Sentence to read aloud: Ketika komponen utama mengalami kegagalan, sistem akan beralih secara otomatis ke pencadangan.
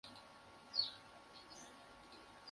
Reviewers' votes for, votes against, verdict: 0, 2, rejected